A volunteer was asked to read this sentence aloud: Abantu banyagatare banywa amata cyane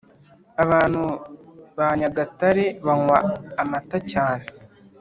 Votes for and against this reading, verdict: 2, 1, accepted